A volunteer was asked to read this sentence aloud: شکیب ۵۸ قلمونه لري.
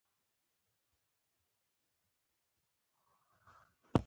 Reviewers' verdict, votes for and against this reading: rejected, 0, 2